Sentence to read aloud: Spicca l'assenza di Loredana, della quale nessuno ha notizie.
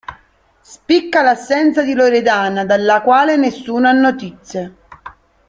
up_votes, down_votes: 0, 2